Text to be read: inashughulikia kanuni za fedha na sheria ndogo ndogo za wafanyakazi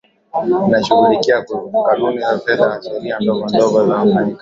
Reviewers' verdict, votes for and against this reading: accepted, 11, 5